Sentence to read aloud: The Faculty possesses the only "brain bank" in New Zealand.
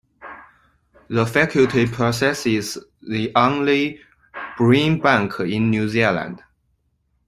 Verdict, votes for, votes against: rejected, 1, 2